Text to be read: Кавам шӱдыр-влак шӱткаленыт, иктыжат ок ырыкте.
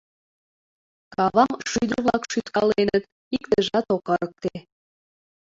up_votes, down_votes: 2, 0